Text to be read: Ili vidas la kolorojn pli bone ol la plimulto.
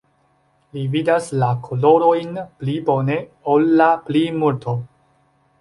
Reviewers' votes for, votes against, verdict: 1, 2, rejected